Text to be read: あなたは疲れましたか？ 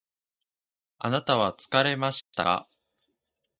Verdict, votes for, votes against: accepted, 2, 1